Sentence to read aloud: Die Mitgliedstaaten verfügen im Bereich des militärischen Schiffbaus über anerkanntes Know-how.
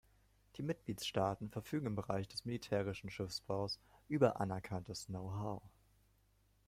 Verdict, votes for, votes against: accepted, 2, 0